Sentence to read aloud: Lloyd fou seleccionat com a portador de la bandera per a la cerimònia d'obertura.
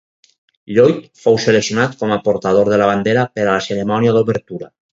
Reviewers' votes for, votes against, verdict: 4, 0, accepted